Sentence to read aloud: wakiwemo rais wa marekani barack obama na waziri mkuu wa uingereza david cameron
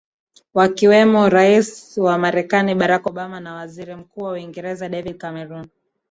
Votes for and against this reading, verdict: 2, 0, accepted